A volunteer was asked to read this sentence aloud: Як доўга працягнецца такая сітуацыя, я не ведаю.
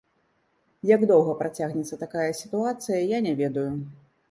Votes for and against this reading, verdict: 2, 0, accepted